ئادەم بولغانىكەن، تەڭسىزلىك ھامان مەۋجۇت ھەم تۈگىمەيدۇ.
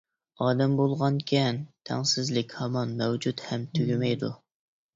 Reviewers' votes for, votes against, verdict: 2, 0, accepted